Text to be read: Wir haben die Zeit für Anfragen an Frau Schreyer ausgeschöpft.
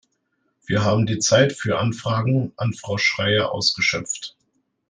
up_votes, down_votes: 1, 2